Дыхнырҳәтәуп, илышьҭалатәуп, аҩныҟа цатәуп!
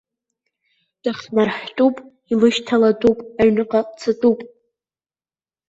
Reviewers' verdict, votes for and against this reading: rejected, 1, 2